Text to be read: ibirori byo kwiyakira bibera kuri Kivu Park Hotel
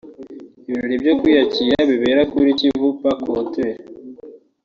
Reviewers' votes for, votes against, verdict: 1, 2, rejected